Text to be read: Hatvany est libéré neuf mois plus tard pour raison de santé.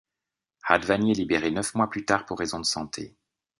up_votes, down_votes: 2, 0